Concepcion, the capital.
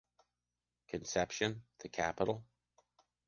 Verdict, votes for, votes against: accepted, 2, 0